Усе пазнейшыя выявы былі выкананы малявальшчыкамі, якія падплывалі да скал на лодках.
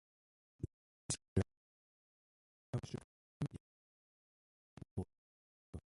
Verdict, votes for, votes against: rejected, 0, 2